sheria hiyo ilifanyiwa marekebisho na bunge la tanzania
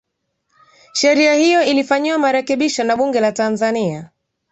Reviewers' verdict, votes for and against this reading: accepted, 2, 0